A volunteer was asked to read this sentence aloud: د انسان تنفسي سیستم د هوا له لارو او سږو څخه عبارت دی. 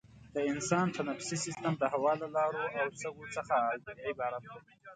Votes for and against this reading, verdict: 2, 1, accepted